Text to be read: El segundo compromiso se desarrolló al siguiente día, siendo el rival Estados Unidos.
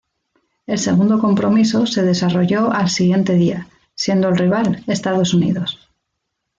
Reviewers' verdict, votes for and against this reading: accepted, 2, 0